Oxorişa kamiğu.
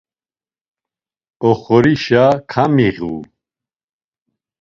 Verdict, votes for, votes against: accepted, 2, 0